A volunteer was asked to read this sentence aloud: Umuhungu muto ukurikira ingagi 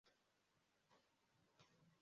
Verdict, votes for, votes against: rejected, 0, 2